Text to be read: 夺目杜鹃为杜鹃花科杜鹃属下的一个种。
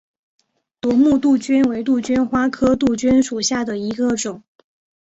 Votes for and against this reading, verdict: 2, 0, accepted